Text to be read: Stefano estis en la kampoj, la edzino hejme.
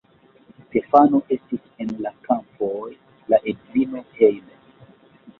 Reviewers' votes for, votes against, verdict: 1, 2, rejected